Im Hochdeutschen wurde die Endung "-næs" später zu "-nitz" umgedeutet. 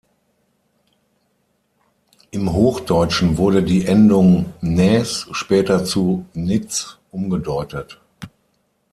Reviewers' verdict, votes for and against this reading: accepted, 6, 3